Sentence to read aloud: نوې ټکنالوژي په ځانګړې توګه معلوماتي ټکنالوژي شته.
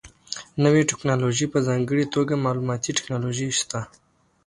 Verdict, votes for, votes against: accepted, 2, 0